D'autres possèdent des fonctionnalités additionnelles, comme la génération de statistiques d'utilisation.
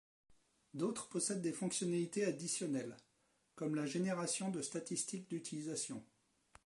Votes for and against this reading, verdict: 2, 0, accepted